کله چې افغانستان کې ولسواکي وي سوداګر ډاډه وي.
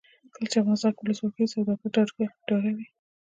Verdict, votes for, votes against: rejected, 0, 2